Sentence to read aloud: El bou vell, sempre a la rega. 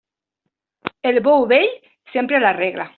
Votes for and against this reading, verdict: 0, 2, rejected